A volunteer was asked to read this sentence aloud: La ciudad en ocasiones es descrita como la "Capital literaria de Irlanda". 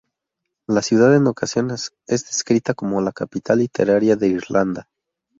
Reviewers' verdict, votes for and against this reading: rejected, 0, 2